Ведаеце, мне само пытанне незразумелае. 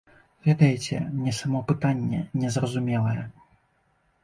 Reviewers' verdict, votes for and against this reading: accepted, 2, 0